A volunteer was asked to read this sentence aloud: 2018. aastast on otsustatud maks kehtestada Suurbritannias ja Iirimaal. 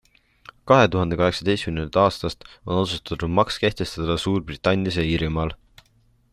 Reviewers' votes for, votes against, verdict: 0, 2, rejected